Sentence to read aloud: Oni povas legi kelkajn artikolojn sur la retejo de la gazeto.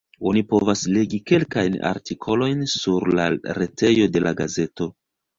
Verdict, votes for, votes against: rejected, 1, 2